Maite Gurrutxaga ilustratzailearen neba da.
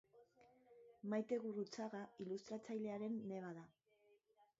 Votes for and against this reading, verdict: 3, 2, accepted